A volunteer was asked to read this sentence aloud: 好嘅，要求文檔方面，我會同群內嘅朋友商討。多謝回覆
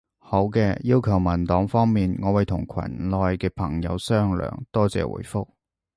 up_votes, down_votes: 0, 2